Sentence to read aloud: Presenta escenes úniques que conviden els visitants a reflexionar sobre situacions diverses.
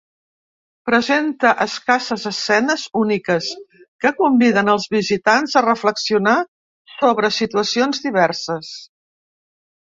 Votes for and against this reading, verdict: 0, 2, rejected